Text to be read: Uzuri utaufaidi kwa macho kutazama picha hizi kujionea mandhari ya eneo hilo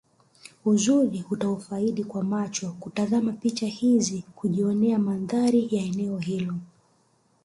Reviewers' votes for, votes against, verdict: 2, 0, accepted